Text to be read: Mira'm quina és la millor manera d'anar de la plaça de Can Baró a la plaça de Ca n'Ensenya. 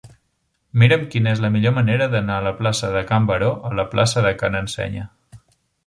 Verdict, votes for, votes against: rejected, 0, 2